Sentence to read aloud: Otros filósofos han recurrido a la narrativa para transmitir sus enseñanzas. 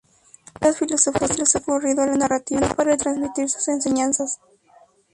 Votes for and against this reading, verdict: 0, 2, rejected